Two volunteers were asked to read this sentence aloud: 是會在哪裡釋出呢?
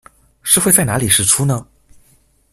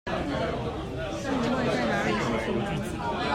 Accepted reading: first